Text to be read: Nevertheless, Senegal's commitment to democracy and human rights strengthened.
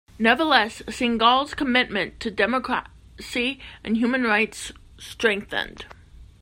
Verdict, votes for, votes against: rejected, 0, 2